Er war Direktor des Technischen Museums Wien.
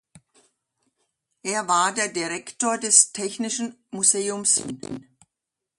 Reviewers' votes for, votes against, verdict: 0, 2, rejected